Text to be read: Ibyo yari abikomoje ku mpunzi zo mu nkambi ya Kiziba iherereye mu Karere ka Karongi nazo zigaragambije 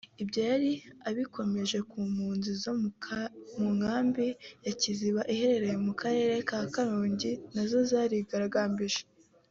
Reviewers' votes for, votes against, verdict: 0, 2, rejected